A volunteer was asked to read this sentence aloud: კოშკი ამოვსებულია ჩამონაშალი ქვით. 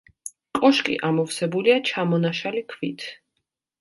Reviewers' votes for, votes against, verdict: 3, 0, accepted